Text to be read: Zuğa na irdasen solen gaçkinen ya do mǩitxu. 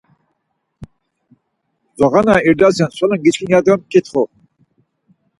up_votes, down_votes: 4, 0